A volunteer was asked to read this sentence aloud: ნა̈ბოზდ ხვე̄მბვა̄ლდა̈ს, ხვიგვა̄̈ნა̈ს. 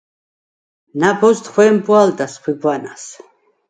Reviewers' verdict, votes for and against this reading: rejected, 0, 4